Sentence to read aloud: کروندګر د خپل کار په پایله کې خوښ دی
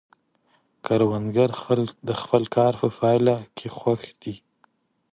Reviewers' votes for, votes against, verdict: 0, 2, rejected